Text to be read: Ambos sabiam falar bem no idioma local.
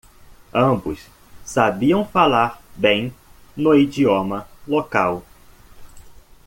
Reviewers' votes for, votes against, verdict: 2, 0, accepted